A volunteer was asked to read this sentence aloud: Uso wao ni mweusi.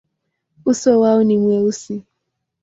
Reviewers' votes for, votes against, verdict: 2, 0, accepted